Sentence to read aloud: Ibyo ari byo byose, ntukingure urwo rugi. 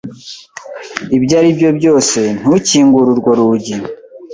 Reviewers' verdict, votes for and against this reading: accepted, 2, 0